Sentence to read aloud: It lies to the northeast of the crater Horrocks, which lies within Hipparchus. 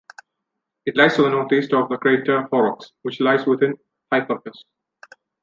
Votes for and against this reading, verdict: 0, 2, rejected